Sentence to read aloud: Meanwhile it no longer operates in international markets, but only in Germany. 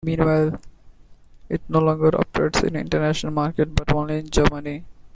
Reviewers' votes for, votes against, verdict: 2, 1, accepted